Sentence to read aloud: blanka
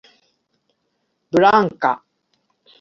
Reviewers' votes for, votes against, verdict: 2, 0, accepted